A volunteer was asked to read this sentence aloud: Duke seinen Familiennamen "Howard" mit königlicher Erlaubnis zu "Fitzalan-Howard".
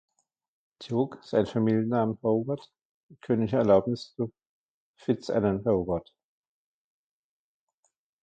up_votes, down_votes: 0, 2